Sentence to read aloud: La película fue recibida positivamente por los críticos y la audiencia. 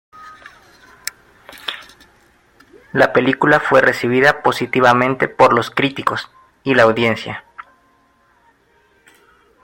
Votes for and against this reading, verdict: 2, 0, accepted